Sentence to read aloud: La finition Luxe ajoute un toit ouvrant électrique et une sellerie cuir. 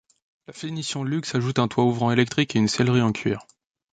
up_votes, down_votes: 1, 2